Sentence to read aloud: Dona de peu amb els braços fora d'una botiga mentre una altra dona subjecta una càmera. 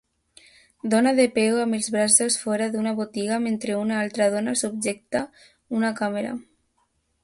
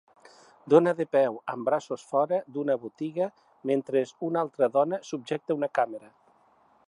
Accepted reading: first